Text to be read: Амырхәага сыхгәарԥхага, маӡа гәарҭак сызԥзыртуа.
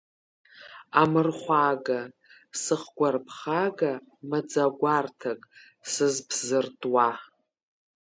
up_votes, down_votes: 0, 2